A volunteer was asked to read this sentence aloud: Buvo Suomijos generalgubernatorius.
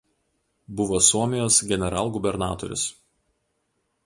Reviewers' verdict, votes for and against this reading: accepted, 2, 0